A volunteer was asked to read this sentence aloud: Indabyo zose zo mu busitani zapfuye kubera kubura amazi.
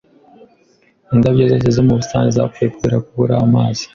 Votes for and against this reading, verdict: 2, 1, accepted